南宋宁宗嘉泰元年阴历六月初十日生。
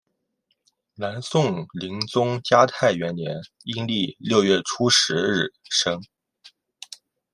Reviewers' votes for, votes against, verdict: 2, 0, accepted